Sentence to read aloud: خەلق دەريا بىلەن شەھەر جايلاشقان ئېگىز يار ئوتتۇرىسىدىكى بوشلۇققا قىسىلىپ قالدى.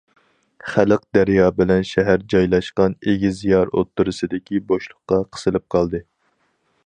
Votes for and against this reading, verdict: 4, 0, accepted